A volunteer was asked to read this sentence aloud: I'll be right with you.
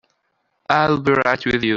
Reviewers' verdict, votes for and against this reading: rejected, 1, 2